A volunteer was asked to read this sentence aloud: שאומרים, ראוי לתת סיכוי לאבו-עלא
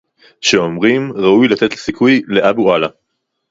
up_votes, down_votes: 2, 2